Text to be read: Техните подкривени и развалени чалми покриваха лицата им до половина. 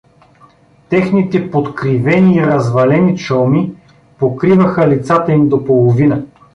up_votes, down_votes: 2, 1